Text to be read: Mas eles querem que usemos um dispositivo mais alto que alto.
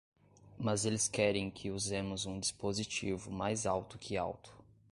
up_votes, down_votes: 2, 0